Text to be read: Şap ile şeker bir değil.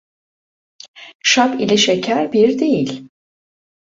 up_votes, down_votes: 1, 2